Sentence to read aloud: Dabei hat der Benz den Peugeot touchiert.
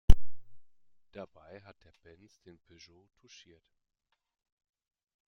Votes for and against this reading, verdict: 2, 0, accepted